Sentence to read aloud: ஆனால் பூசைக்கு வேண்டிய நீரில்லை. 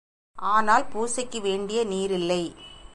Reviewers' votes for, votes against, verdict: 2, 0, accepted